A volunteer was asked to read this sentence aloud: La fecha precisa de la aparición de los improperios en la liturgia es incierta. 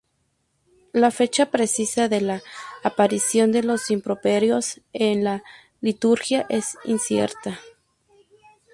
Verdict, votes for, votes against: rejected, 0, 2